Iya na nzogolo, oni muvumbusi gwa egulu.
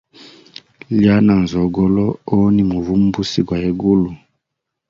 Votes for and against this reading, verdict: 2, 0, accepted